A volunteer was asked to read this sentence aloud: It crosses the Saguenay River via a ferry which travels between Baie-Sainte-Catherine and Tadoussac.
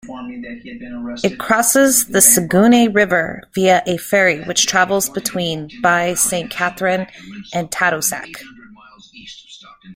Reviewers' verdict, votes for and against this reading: rejected, 1, 2